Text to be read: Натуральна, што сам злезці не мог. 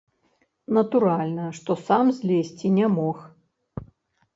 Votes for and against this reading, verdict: 0, 2, rejected